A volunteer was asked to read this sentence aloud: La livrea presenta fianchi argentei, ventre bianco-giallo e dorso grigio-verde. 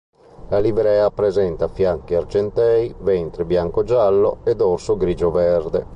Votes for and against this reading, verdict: 0, 2, rejected